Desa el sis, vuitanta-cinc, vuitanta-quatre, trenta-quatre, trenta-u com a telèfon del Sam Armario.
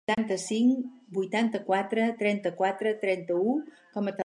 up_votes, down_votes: 0, 4